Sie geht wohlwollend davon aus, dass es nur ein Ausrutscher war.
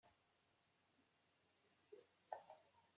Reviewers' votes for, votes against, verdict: 0, 2, rejected